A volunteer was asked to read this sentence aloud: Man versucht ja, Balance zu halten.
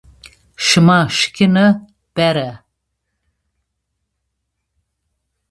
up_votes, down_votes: 0, 2